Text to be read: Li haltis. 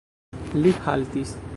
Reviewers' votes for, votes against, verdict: 1, 2, rejected